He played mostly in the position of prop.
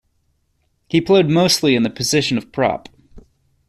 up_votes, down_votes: 2, 0